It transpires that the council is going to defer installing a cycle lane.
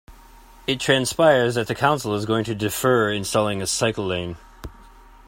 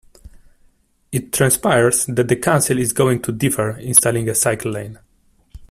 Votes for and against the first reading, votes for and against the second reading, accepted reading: 2, 0, 1, 2, first